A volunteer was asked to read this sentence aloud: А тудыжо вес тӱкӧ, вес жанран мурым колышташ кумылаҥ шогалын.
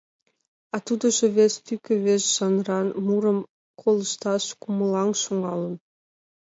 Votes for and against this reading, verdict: 2, 1, accepted